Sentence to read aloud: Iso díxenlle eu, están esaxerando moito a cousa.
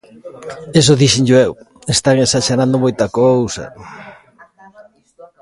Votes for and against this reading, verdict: 1, 2, rejected